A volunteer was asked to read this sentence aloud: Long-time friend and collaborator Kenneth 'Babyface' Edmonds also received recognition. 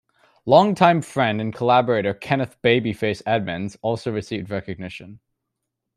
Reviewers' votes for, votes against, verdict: 2, 0, accepted